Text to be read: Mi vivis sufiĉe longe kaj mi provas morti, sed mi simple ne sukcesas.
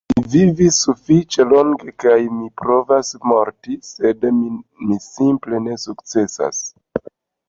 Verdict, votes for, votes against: rejected, 1, 2